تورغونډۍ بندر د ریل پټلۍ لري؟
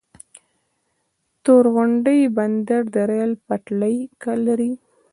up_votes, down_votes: 1, 2